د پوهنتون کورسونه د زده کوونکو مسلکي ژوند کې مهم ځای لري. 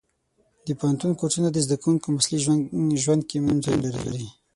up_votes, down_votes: 0, 6